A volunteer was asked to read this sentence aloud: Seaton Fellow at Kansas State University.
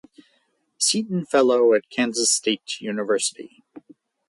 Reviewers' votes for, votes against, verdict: 4, 0, accepted